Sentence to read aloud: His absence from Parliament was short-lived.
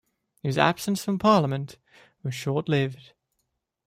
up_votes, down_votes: 2, 1